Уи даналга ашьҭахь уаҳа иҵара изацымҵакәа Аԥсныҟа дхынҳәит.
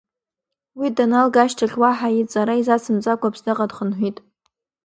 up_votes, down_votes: 2, 1